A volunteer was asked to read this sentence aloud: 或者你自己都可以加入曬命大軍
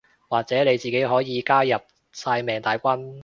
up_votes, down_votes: 0, 2